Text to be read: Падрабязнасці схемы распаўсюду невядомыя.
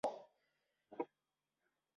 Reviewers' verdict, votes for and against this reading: rejected, 0, 2